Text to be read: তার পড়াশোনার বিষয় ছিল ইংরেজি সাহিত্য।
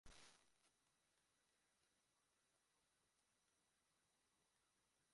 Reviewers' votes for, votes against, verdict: 0, 4, rejected